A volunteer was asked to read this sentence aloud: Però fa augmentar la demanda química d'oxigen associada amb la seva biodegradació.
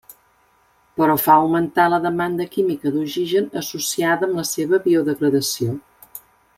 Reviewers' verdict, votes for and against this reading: accepted, 2, 0